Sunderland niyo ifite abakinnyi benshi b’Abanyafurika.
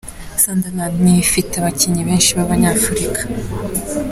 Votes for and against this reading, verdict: 2, 1, accepted